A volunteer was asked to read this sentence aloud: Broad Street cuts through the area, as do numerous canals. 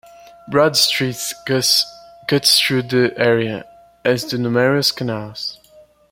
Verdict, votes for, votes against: rejected, 0, 2